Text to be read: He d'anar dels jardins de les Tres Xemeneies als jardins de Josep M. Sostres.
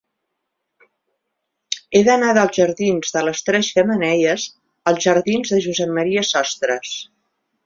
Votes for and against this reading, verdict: 2, 1, accepted